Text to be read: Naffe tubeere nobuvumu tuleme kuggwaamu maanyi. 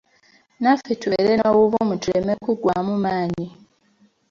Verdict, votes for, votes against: accepted, 3, 0